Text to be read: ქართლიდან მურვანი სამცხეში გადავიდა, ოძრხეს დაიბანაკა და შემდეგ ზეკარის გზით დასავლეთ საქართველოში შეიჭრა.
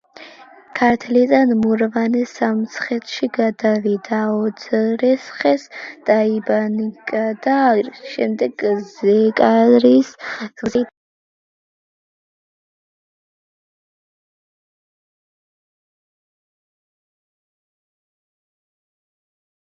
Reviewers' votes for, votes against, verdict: 0, 2, rejected